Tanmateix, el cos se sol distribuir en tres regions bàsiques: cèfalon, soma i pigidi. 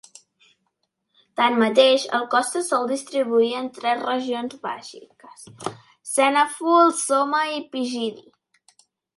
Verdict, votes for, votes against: rejected, 0, 2